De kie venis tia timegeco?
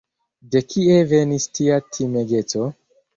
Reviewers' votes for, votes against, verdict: 2, 0, accepted